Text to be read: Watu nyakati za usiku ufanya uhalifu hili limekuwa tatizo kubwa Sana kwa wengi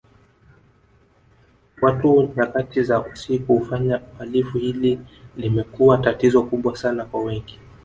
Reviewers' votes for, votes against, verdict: 1, 2, rejected